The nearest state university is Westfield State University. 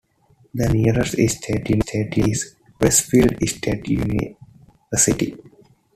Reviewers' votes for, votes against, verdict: 0, 2, rejected